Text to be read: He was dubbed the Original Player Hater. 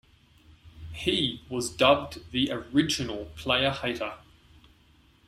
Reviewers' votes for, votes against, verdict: 2, 0, accepted